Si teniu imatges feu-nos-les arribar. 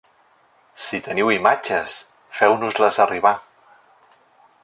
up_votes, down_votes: 2, 0